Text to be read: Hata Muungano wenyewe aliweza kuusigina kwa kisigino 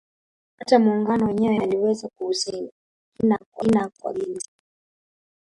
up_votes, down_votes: 0, 2